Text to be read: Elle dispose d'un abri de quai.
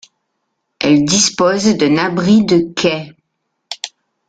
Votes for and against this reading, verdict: 2, 1, accepted